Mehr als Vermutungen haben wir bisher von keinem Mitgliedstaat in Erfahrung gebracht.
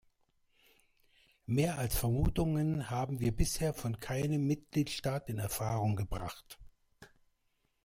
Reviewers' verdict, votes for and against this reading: accepted, 2, 0